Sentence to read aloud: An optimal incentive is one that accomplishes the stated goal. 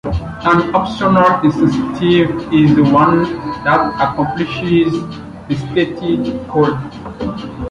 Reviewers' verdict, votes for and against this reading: rejected, 0, 2